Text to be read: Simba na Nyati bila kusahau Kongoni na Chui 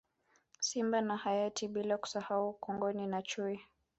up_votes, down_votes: 1, 2